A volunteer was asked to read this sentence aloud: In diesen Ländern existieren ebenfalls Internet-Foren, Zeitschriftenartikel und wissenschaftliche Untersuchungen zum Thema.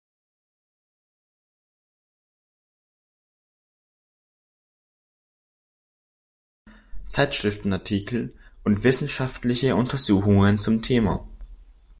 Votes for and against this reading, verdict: 0, 2, rejected